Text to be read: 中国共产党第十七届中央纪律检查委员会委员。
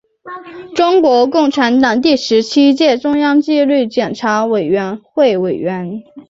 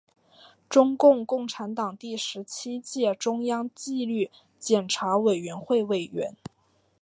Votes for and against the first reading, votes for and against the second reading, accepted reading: 4, 0, 1, 2, first